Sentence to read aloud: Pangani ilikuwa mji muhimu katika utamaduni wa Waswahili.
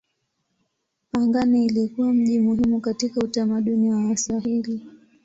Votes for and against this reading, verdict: 2, 0, accepted